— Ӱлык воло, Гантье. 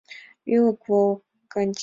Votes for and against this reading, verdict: 1, 3, rejected